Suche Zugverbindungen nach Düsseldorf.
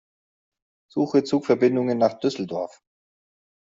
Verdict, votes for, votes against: accepted, 2, 0